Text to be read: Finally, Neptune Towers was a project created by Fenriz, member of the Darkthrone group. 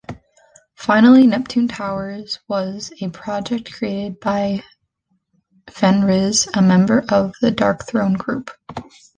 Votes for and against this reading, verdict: 0, 2, rejected